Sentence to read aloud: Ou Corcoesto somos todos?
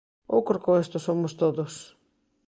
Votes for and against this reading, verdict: 2, 0, accepted